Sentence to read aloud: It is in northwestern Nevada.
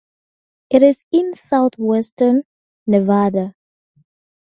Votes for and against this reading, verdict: 0, 2, rejected